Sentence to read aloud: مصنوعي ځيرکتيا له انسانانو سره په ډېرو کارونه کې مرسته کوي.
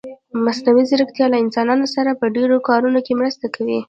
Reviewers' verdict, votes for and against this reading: accepted, 2, 1